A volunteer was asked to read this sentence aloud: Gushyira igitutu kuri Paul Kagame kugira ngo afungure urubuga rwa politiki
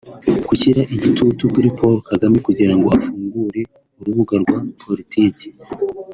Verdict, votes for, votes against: accepted, 2, 0